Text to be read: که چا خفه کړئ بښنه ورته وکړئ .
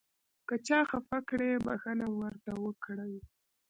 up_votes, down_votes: 1, 2